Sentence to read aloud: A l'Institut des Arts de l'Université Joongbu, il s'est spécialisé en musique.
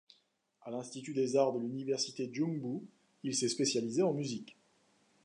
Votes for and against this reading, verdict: 2, 0, accepted